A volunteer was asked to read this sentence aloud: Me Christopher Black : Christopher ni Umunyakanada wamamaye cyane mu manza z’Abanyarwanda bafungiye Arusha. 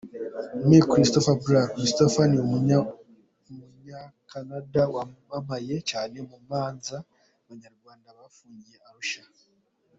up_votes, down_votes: 1, 2